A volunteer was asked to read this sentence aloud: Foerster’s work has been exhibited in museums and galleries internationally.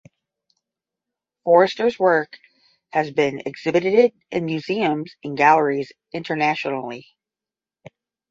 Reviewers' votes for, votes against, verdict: 10, 0, accepted